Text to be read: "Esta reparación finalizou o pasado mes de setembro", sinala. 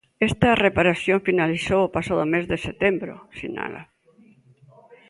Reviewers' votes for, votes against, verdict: 2, 0, accepted